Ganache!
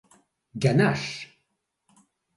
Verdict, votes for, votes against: accepted, 2, 0